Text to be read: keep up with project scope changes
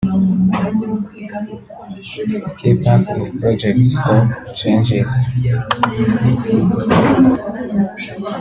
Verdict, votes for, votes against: rejected, 1, 2